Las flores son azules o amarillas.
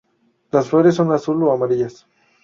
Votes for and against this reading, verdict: 0, 2, rejected